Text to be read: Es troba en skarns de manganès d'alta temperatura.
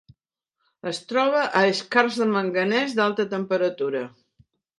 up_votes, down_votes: 2, 1